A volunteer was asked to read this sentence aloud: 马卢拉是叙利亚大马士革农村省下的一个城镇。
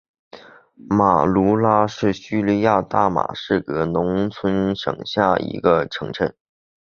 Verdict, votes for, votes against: accepted, 4, 0